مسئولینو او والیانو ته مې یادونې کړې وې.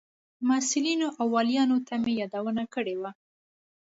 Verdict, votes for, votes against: accepted, 2, 0